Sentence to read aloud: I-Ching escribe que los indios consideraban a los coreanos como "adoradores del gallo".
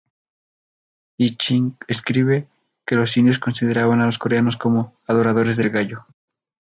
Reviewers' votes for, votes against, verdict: 0, 2, rejected